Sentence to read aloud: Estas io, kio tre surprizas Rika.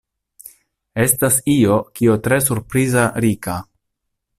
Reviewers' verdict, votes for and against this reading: rejected, 0, 2